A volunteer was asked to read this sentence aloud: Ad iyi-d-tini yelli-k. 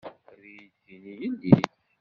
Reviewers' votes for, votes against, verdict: 1, 2, rejected